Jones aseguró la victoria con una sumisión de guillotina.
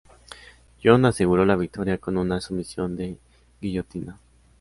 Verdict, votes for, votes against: accepted, 2, 0